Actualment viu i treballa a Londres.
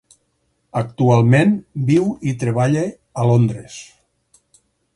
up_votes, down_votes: 4, 0